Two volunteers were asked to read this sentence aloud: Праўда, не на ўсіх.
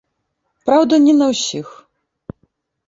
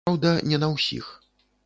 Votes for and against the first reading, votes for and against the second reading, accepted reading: 2, 0, 0, 2, first